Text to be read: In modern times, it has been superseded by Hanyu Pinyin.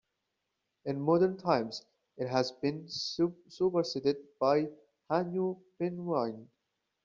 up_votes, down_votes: 2, 1